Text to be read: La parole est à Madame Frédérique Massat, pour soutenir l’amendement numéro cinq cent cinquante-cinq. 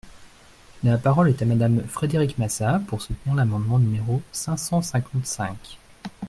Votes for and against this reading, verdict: 2, 0, accepted